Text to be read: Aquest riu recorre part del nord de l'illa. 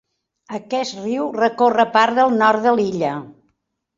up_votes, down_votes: 0, 2